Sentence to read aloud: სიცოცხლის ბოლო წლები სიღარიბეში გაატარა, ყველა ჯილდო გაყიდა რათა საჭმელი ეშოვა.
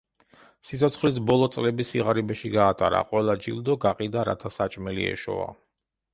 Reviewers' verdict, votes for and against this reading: accepted, 2, 0